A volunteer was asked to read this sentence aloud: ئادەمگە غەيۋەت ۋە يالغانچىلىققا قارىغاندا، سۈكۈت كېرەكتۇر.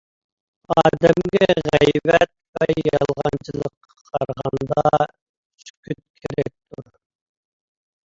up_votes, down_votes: 1, 2